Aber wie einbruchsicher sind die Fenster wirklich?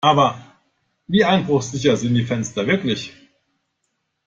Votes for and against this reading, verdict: 2, 0, accepted